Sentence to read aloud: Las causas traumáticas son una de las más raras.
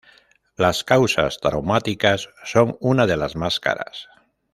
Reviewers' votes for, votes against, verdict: 0, 2, rejected